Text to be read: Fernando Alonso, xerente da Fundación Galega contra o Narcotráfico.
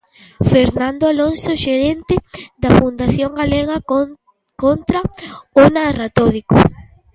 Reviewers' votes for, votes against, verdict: 0, 2, rejected